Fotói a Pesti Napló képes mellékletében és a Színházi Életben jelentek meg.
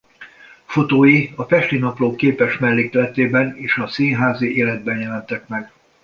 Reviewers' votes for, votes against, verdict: 2, 0, accepted